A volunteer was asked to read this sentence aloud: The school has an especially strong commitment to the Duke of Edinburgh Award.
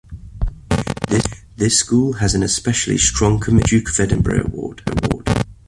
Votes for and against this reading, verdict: 0, 2, rejected